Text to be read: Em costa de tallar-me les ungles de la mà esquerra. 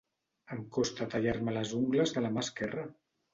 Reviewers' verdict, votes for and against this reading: rejected, 0, 3